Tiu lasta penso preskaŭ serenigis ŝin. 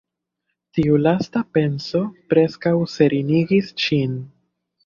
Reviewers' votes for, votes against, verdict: 1, 2, rejected